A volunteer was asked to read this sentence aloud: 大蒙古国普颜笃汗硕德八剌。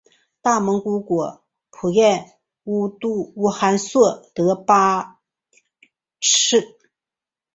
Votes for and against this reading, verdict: 0, 2, rejected